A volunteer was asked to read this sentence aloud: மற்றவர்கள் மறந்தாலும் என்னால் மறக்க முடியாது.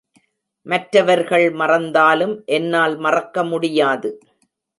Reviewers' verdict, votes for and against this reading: accepted, 2, 0